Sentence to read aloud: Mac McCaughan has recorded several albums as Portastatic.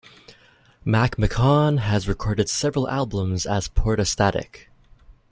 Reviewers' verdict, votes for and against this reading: rejected, 0, 2